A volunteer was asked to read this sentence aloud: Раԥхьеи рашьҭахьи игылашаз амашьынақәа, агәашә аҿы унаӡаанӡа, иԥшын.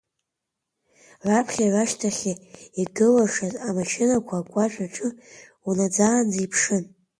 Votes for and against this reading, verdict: 1, 2, rejected